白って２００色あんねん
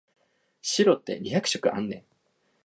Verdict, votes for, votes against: rejected, 0, 2